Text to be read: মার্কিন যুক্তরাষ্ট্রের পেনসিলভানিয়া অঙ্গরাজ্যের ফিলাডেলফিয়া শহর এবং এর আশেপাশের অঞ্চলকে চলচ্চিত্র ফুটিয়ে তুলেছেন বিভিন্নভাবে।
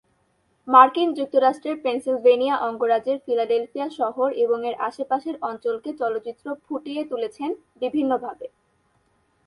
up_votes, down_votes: 2, 0